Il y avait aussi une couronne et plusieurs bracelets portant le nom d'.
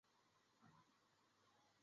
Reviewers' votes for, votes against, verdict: 1, 2, rejected